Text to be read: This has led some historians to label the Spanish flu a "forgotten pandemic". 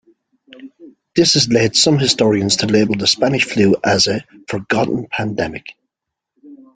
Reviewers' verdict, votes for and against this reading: accepted, 2, 0